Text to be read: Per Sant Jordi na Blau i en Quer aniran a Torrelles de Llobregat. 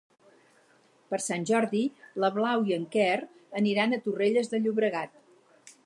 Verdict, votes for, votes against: rejected, 0, 2